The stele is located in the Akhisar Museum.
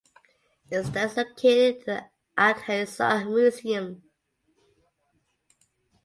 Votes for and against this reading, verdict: 0, 2, rejected